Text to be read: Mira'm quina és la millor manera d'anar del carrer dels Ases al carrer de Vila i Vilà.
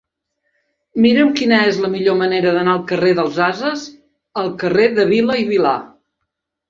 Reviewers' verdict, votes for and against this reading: rejected, 1, 2